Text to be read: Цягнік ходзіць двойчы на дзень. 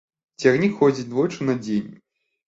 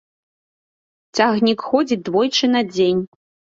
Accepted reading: first